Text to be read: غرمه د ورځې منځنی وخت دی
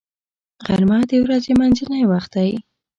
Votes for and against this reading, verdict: 2, 0, accepted